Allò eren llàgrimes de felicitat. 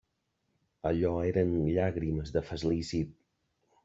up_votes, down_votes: 0, 2